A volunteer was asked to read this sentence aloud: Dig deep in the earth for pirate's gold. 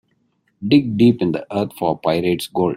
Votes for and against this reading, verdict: 2, 0, accepted